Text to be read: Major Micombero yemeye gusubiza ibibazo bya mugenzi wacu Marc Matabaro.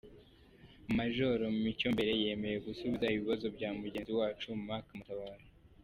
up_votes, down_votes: 1, 2